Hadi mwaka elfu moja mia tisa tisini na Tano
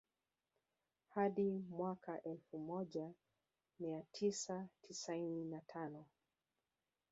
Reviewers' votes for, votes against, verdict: 0, 2, rejected